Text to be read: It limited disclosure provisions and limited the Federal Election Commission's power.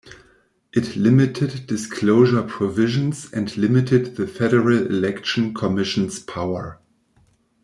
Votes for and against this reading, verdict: 2, 0, accepted